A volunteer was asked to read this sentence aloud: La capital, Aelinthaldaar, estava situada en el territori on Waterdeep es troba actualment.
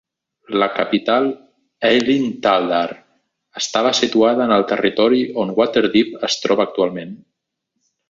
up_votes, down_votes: 2, 0